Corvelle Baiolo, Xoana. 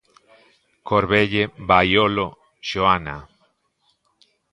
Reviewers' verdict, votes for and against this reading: accepted, 2, 0